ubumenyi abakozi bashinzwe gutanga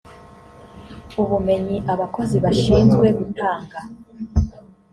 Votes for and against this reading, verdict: 2, 1, accepted